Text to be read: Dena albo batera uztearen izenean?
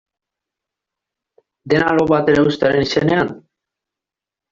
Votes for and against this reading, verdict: 1, 2, rejected